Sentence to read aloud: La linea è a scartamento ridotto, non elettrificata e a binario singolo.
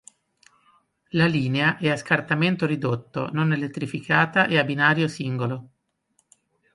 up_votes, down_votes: 2, 0